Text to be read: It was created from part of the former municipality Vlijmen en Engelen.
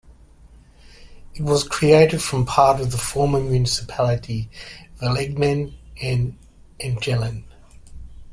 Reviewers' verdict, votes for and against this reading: rejected, 1, 2